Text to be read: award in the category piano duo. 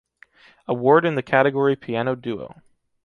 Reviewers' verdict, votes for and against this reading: accepted, 2, 0